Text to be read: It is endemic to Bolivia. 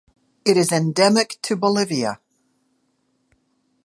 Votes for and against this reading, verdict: 2, 0, accepted